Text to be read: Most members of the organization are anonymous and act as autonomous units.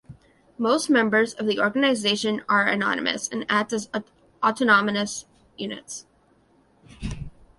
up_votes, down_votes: 0, 3